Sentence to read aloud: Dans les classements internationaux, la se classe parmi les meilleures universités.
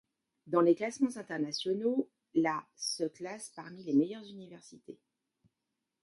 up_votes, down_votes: 2, 1